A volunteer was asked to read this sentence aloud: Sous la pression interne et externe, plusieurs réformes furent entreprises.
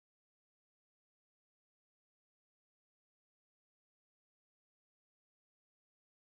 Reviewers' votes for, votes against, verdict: 0, 2, rejected